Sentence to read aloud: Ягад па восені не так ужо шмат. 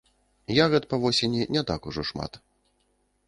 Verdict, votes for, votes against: accepted, 2, 0